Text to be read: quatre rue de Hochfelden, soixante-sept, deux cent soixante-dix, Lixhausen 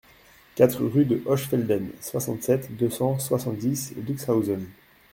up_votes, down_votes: 2, 0